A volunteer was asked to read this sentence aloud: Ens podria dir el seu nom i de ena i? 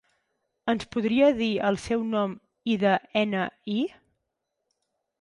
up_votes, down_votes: 10, 4